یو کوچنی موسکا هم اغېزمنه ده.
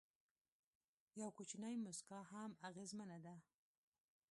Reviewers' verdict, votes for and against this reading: accepted, 2, 1